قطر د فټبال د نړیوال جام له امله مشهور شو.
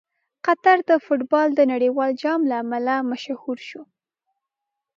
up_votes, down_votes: 2, 0